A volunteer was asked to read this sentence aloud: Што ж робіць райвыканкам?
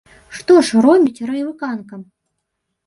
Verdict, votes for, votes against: rejected, 0, 3